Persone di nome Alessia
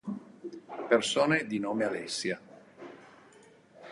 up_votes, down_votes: 2, 0